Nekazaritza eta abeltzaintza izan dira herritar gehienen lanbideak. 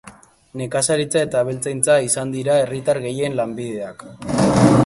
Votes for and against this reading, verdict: 0, 2, rejected